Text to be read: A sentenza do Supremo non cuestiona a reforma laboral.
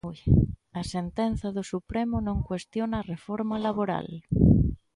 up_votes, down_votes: 1, 2